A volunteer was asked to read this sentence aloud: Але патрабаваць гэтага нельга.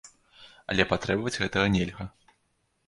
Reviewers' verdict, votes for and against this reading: rejected, 1, 2